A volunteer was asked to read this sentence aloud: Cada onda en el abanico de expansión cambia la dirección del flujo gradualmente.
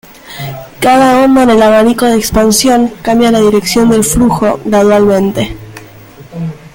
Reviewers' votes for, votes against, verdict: 1, 2, rejected